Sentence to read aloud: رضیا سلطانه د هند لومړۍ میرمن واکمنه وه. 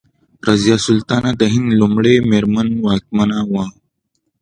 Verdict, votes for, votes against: accepted, 2, 0